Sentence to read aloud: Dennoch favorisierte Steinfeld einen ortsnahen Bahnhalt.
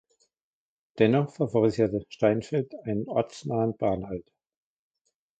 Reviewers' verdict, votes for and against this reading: rejected, 1, 2